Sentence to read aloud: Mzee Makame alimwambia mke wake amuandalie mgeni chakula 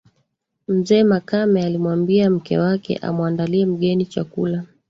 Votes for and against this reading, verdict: 2, 1, accepted